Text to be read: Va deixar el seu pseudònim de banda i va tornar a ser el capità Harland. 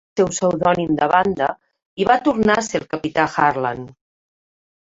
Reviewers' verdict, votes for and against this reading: rejected, 1, 2